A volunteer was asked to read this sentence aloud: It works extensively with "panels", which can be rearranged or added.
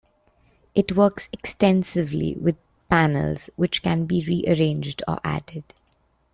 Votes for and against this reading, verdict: 2, 0, accepted